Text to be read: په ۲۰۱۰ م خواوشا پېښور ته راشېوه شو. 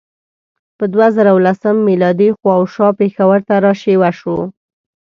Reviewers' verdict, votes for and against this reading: rejected, 0, 2